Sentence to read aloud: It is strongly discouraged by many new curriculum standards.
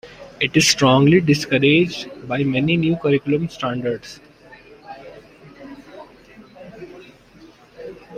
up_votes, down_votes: 2, 1